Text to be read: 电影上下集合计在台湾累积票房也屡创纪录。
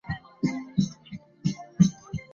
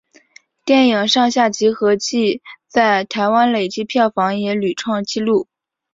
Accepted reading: second